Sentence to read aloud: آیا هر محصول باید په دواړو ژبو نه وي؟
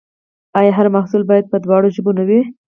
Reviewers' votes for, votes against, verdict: 2, 2, rejected